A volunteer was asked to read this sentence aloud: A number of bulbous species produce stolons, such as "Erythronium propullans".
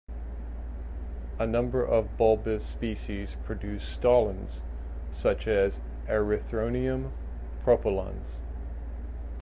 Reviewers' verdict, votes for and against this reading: accepted, 2, 0